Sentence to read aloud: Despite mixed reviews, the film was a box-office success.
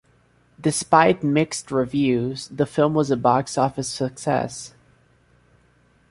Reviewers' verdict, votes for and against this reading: accepted, 2, 0